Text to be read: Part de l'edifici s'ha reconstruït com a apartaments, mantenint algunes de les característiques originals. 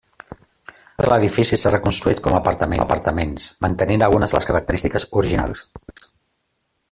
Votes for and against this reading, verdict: 0, 2, rejected